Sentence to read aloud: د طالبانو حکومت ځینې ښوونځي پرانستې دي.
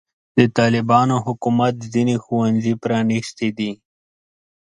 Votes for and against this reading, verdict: 7, 0, accepted